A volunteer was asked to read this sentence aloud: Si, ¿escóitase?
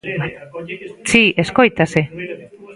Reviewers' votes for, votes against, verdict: 0, 2, rejected